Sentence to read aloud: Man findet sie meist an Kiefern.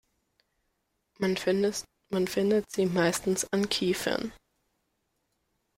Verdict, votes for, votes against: rejected, 0, 2